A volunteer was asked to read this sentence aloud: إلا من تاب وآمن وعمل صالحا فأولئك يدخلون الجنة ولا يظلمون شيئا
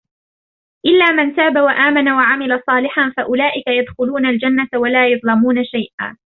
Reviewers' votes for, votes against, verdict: 0, 2, rejected